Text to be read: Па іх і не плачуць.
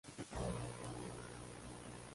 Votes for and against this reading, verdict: 0, 2, rejected